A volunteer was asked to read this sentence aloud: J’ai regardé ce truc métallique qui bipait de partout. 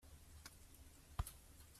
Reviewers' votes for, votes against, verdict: 0, 2, rejected